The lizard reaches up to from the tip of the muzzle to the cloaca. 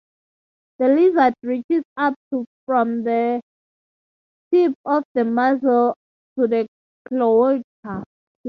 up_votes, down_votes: 0, 2